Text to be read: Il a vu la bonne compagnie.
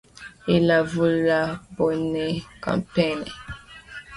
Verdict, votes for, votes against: rejected, 1, 2